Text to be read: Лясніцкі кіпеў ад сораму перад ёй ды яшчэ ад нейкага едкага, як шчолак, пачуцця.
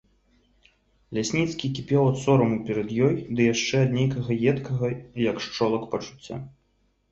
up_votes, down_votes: 2, 0